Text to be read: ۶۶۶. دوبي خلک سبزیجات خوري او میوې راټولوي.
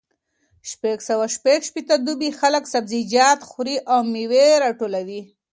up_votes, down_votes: 0, 2